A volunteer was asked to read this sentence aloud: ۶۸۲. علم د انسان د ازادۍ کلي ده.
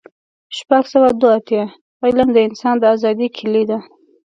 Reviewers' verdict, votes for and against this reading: rejected, 0, 2